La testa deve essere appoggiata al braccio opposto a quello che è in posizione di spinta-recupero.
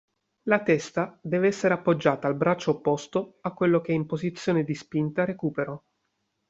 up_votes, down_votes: 2, 0